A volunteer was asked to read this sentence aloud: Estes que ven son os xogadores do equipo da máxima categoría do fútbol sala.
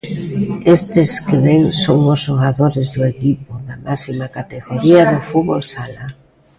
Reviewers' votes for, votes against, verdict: 0, 2, rejected